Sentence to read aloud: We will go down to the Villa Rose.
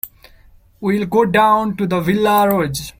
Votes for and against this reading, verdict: 1, 3, rejected